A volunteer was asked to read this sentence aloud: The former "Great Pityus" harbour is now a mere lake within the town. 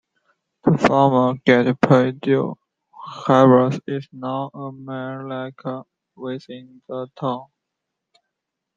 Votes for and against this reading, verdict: 2, 0, accepted